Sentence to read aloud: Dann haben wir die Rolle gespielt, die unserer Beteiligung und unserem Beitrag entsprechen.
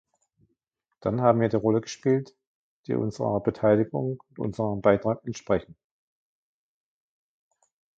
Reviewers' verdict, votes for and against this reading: accepted, 2, 1